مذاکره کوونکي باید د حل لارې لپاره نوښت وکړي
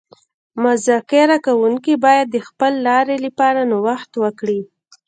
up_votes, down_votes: 0, 2